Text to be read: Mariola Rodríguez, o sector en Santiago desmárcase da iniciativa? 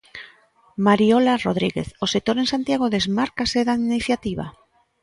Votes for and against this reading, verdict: 2, 0, accepted